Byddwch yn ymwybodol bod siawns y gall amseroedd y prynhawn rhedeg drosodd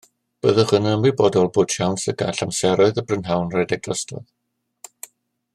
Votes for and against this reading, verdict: 2, 0, accepted